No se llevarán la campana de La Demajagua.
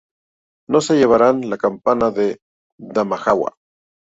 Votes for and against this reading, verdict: 0, 2, rejected